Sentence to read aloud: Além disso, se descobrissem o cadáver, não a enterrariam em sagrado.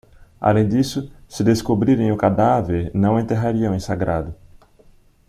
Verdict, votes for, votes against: rejected, 0, 2